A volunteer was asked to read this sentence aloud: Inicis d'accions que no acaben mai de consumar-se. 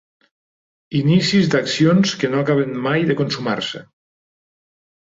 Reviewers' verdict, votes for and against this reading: accepted, 3, 0